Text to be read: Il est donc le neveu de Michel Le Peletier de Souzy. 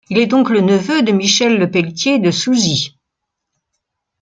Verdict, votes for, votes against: accepted, 2, 0